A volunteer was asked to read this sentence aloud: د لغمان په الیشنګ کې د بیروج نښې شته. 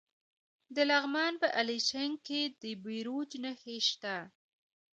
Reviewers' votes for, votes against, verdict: 0, 2, rejected